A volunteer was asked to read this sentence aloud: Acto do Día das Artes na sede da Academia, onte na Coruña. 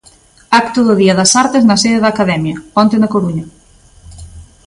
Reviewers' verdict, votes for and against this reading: accepted, 2, 0